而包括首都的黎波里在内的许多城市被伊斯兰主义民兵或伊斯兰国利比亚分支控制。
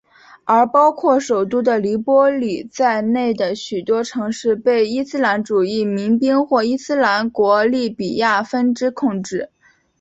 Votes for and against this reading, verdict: 0, 2, rejected